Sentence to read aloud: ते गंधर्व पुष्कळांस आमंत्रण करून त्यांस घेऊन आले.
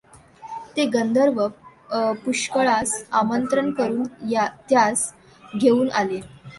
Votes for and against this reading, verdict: 1, 2, rejected